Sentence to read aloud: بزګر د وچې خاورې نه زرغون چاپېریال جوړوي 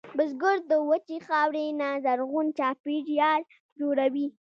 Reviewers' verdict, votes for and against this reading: accepted, 2, 0